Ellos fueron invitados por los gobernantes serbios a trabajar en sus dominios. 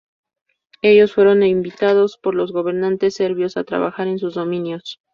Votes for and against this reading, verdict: 2, 0, accepted